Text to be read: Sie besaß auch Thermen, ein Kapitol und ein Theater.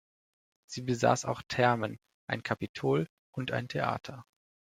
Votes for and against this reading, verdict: 2, 0, accepted